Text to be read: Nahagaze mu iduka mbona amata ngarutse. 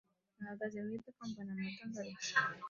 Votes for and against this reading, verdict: 1, 2, rejected